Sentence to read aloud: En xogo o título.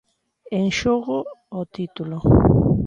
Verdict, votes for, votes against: accepted, 2, 0